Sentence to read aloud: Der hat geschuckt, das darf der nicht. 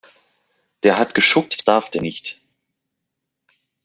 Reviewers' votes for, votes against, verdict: 1, 2, rejected